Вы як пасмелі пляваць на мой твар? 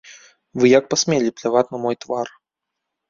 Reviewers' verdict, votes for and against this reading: accepted, 2, 1